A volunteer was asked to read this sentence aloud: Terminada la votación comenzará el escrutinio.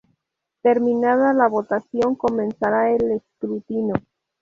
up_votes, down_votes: 2, 2